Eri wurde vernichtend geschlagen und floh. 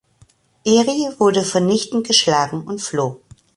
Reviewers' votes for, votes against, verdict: 2, 0, accepted